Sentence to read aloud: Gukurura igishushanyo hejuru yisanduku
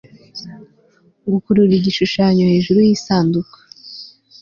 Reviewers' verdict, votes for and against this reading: accepted, 2, 0